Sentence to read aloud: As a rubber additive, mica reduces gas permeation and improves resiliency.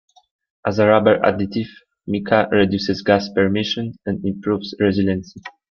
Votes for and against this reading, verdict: 2, 1, accepted